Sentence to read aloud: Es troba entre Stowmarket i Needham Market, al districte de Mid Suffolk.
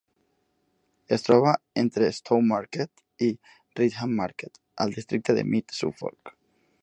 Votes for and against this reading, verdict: 1, 2, rejected